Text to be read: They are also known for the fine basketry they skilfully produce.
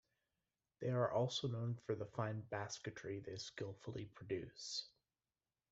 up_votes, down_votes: 1, 2